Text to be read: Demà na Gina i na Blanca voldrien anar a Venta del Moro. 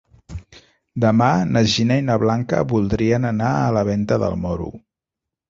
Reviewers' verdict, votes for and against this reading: rejected, 1, 2